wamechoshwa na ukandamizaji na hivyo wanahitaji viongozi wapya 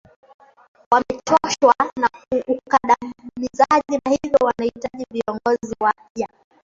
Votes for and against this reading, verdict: 0, 2, rejected